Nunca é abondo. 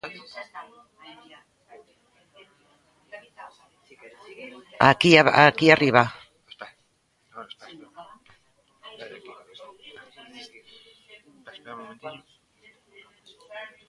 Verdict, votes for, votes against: rejected, 0, 2